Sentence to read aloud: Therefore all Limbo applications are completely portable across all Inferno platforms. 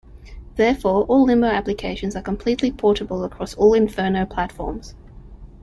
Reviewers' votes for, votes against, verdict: 2, 0, accepted